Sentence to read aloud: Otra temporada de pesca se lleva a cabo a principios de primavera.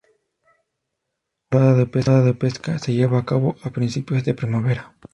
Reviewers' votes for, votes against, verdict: 0, 2, rejected